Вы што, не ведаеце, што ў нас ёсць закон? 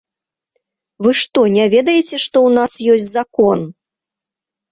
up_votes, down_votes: 4, 0